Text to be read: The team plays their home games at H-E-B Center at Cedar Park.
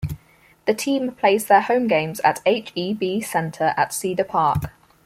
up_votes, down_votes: 4, 0